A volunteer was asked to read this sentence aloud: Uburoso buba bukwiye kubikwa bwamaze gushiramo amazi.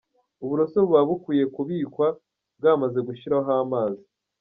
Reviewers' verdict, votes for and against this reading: rejected, 1, 2